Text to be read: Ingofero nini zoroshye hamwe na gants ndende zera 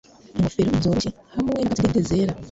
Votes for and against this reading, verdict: 2, 3, rejected